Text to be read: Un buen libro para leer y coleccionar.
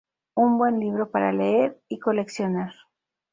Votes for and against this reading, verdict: 2, 0, accepted